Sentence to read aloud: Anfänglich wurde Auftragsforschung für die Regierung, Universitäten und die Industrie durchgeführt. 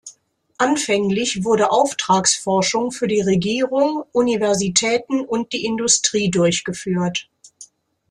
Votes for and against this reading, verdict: 2, 0, accepted